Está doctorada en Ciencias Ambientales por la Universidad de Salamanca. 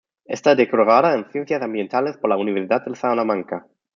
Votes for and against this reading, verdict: 0, 2, rejected